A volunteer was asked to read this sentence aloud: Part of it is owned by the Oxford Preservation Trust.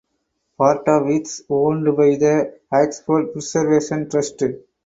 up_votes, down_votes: 2, 4